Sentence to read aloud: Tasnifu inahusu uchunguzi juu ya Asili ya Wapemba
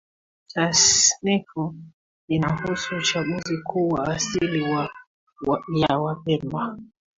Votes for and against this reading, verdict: 1, 2, rejected